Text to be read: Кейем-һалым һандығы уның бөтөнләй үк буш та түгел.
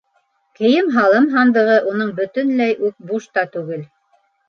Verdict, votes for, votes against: accepted, 2, 0